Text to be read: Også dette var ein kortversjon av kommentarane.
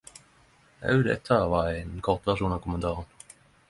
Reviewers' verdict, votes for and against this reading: accepted, 10, 0